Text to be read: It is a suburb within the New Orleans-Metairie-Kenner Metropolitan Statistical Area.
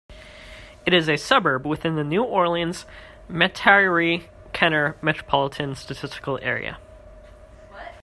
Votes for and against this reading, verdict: 1, 2, rejected